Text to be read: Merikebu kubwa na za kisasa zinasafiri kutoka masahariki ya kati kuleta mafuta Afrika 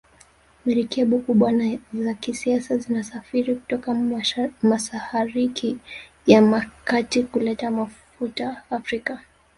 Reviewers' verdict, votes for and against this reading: rejected, 1, 2